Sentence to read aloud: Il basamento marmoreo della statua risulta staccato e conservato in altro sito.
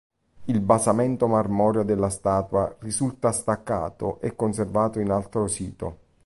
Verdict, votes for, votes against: accepted, 2, 0